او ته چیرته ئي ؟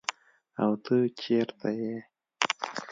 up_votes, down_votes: 2, 0